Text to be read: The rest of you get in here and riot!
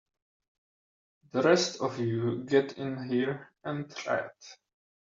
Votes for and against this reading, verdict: 3, 1, accepted